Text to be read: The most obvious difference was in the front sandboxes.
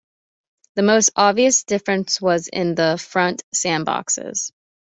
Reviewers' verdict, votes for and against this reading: accepted, 2, 0